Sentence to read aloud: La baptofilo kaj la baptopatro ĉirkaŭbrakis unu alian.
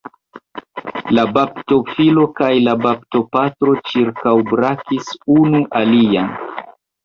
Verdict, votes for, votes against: rejected, 1, 2